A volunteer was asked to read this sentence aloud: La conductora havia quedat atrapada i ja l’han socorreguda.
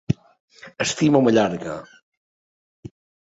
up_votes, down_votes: 0, 2